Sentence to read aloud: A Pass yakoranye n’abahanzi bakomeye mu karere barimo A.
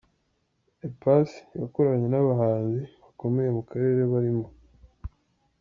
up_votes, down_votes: 0, 2